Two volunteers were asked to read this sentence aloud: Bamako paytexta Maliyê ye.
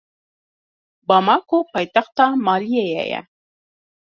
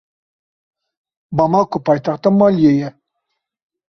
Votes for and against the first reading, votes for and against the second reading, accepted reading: 1, 2, 2, 0, second